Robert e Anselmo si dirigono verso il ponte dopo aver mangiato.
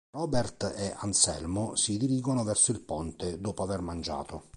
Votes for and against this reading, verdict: 2, 0, accepted